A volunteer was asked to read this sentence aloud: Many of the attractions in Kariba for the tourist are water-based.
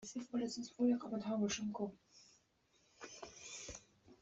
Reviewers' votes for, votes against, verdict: 0, 2, rejected